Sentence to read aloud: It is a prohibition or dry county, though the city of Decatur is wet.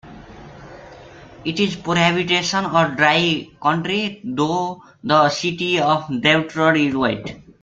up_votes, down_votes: 0, 2